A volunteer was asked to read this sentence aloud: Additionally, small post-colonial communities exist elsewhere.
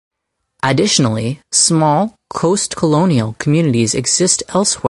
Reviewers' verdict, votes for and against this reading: rejected, 0, 4